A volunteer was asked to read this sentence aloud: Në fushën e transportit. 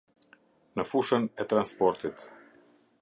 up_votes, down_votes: 2, 0